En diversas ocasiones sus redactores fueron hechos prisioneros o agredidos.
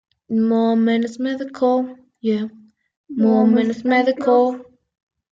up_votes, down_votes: 1, 2